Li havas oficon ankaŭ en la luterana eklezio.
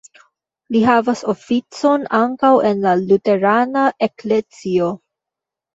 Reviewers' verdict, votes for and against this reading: rejected, 0, 2